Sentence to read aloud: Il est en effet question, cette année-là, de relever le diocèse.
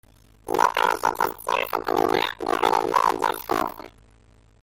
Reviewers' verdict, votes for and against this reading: rejected, 0, 2